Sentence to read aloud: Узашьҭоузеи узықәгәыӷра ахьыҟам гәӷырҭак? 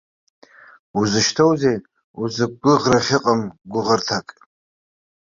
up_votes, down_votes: 0, 2